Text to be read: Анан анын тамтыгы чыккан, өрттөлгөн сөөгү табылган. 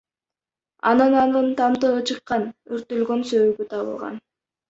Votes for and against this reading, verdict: 2, 0, accepted